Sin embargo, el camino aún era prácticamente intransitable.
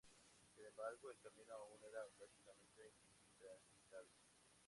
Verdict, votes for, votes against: rejected, 0, 2